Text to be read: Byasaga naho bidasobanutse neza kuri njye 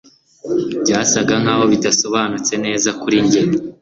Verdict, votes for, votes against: accepted, 2, 0